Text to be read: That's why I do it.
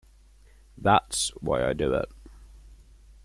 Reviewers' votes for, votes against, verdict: 2, 0, accepted